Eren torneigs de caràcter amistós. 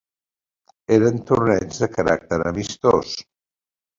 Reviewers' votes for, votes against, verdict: 3, 0, accepted